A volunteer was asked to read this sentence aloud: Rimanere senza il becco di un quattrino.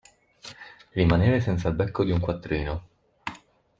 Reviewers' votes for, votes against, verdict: 2, 0, accepted